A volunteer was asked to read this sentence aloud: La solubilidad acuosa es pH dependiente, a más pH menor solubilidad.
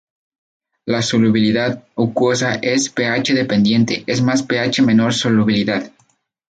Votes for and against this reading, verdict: 0, 2, rejected